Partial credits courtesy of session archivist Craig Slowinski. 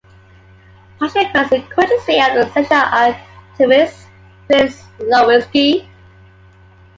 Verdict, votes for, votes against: rejected, 1, 2